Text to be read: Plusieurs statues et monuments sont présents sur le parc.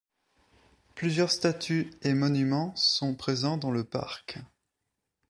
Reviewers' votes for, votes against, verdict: 2, 3, rejected